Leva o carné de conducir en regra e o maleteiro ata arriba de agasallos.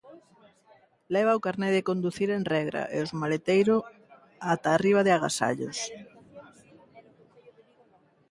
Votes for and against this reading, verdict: 0, 2, rejected